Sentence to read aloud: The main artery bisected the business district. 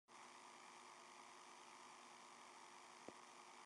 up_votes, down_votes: 0, 2